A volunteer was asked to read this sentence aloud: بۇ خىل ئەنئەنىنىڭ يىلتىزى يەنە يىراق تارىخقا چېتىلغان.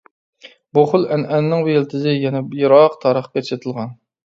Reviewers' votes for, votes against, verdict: 2, 1, accepted